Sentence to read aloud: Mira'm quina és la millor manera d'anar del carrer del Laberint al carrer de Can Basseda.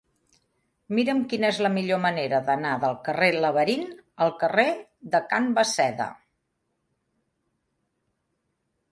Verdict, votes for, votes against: rejected, 2, 3